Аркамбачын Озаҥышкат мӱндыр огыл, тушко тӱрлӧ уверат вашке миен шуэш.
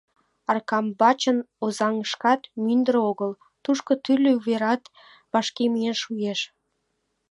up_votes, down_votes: 2, 0